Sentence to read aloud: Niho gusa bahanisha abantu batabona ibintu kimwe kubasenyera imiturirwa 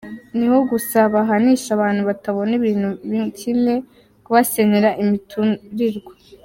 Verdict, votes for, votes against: rejected, 0, 2